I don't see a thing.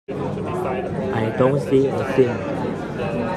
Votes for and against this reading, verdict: 2, 0, accepted